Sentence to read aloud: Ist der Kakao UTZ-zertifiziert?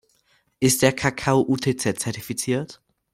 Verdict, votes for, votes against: accepted, 2, 0